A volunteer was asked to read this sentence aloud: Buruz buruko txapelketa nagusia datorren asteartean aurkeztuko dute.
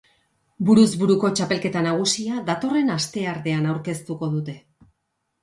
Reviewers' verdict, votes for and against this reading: accepted, 2, 0